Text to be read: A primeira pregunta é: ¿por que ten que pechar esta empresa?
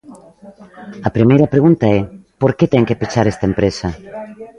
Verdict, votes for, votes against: accepted, 2, 0